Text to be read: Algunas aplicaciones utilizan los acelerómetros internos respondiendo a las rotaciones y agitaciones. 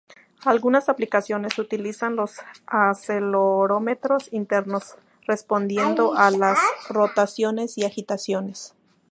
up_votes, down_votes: 0, 2